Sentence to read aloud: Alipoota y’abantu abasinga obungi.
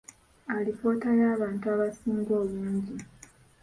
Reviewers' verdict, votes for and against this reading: accepted, 2, 1